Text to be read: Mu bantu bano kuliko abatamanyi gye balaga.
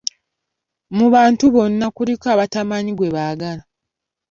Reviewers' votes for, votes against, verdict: 0, 2, rejected